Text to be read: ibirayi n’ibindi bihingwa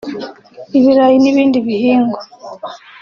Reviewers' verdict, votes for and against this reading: rejected, 1, 2